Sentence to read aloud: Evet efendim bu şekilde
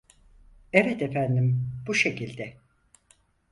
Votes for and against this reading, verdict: 4, 0, accepted